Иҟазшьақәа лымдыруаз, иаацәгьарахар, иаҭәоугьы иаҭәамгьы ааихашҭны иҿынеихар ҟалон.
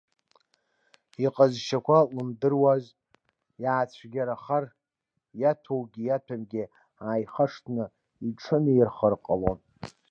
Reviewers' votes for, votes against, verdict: 2, 0, accepted